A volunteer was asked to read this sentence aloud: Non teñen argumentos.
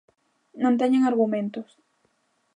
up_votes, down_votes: 2, 0